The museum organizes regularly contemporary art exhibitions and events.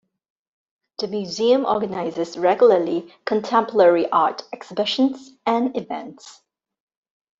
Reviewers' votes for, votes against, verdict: 2, 1, accepted